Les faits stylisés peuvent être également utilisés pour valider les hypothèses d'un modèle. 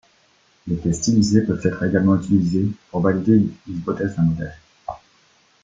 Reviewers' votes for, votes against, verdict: 1, 2, rejected